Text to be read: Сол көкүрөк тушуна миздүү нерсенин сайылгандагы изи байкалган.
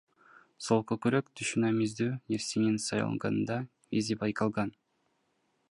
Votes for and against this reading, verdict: 0, 2, rejected